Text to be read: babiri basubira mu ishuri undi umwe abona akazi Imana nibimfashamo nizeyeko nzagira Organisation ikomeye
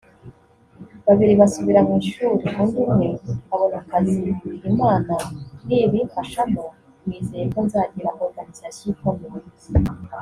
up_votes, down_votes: 0, 2